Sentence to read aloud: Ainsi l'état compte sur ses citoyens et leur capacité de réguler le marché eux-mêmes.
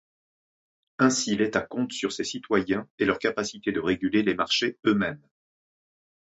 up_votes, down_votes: 3, 0